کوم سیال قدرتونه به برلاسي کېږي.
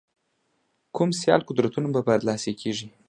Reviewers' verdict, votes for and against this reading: accepted, 2, 0